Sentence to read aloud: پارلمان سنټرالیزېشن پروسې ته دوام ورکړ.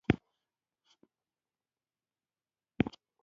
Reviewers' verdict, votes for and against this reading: rejected, 0, 2